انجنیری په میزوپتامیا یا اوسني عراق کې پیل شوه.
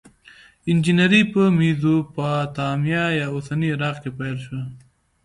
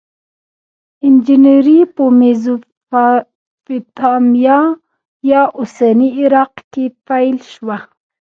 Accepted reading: first